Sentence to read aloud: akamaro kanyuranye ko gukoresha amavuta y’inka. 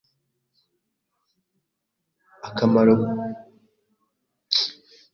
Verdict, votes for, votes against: rejected, 1, 2